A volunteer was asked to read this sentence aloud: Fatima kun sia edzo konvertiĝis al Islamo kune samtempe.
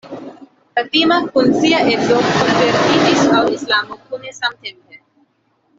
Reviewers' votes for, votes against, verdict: 1, 2, rejected